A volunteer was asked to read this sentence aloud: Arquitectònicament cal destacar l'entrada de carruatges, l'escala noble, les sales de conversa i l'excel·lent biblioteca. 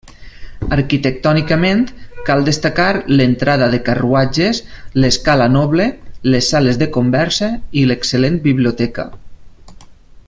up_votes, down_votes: 3, 0